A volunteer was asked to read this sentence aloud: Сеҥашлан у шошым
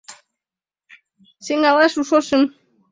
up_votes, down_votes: 1, 2